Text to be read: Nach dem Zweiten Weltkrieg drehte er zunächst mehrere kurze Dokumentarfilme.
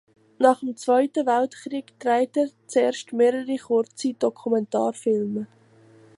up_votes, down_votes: 0, 2